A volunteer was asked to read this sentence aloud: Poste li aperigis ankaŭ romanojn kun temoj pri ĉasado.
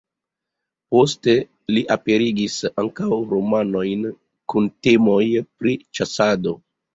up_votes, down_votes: 1, 2